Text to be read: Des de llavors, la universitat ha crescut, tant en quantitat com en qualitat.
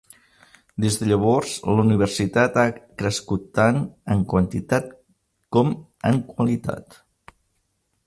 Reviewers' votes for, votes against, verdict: 3, 0, accepted